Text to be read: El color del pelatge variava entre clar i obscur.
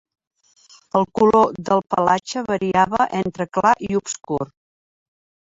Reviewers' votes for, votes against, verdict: 3, 0, accepted